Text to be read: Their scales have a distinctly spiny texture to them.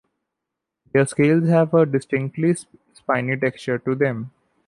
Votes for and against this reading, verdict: 2, 0, accepted